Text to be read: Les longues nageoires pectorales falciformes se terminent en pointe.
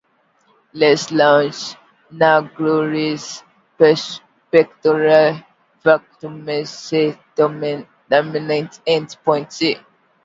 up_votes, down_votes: 0, 2